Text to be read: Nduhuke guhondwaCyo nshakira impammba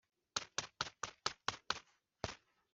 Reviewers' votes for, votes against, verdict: 0, 4, rejected